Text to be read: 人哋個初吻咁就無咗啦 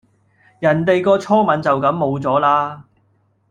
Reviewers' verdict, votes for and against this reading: rejected, 0, 2